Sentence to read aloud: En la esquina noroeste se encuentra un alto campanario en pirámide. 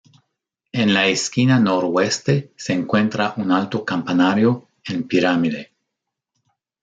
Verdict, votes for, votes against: accepted, 2, 0